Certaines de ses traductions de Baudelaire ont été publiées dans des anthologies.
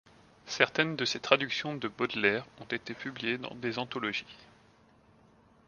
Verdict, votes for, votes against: accepted, 2, 0